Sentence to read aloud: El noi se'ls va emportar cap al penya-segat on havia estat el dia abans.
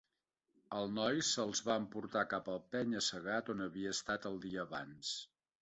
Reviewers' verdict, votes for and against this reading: accepted, 2, 0